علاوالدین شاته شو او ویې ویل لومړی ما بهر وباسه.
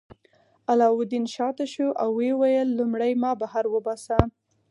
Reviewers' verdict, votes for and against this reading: accepted, 4, 0